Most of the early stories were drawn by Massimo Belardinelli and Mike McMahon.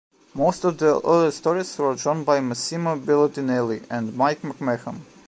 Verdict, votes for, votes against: accepted, 2, 0